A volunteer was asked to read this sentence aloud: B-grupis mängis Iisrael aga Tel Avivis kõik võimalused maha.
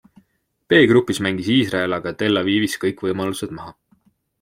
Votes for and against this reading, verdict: 2, 0, accepted